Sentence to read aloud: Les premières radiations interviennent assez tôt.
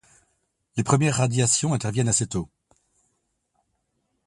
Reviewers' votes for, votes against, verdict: 2, 0, accepted